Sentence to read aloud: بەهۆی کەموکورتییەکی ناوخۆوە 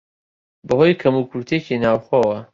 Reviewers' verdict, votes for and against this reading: accepted, 2, 1